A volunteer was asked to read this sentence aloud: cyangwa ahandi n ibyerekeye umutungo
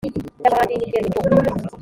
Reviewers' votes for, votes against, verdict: 0, 2, rejected